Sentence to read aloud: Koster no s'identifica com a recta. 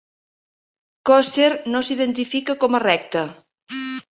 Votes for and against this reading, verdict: 0, 2, rejected